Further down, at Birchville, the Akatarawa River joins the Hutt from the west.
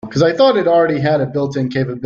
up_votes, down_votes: 0, 2